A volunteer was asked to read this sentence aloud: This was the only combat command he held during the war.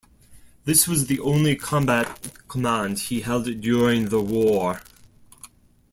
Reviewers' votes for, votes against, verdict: 1, 2, rejected